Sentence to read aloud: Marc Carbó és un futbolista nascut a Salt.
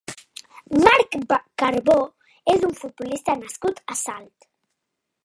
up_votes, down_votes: 1, 2